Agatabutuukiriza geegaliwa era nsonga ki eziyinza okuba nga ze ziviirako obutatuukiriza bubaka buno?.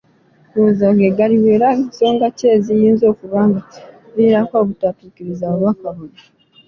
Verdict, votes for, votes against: rejected, 1, 2